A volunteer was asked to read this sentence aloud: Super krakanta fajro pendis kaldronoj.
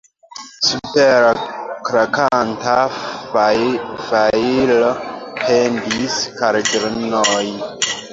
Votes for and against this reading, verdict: 0, 2, rejected